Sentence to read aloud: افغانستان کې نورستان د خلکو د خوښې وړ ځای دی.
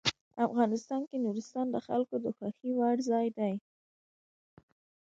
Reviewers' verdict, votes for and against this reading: accepted, 2, 0